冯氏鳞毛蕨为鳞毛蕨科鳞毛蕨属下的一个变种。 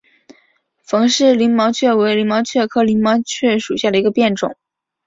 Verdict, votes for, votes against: accepted, 5, 0